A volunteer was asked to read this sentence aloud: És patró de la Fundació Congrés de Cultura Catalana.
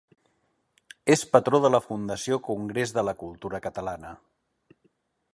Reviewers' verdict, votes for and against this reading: rejected, 0, 2